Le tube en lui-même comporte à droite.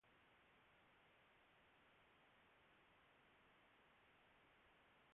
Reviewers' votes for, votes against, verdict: 0, 2, rejected